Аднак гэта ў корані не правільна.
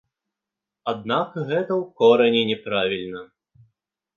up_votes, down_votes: 2, 0